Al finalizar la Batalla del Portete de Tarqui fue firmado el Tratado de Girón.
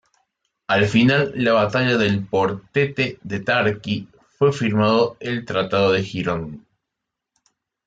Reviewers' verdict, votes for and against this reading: rejected, 0, 2